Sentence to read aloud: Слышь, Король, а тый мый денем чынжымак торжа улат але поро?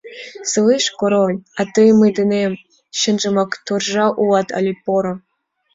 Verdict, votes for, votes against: accepted, 2, 0